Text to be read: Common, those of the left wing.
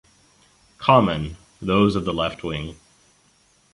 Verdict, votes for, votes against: accepted, 2, 0